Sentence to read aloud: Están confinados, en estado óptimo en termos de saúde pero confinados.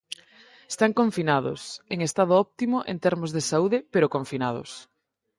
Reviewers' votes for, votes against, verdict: 4, 0, accepted